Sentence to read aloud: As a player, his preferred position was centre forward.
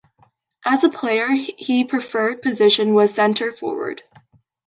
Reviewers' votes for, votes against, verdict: 0, 2, rejected